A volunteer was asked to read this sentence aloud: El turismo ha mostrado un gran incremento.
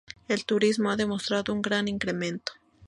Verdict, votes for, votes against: accepted, 2, 0